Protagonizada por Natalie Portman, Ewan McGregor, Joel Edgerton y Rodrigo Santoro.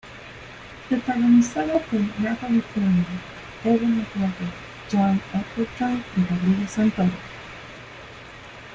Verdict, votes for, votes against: rejected, 0, 2